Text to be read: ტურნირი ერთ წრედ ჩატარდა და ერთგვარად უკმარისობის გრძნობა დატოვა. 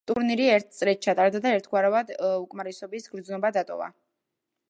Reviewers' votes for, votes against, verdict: 0, 2, rejected